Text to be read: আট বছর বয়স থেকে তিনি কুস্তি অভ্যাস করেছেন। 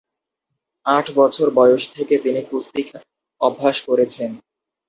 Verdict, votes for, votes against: rejected, 0, 2